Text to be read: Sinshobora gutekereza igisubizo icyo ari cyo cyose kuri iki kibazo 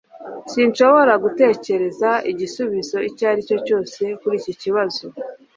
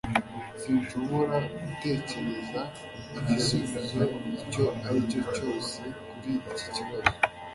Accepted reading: first